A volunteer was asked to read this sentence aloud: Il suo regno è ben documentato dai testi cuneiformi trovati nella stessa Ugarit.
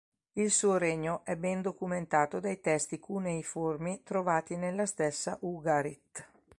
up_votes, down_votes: 2, 0